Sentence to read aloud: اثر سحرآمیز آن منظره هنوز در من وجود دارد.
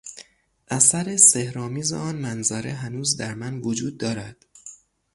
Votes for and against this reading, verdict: 6, 0, accepted